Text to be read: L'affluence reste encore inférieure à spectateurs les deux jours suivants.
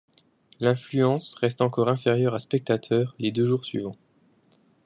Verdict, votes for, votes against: rejected, 1, 2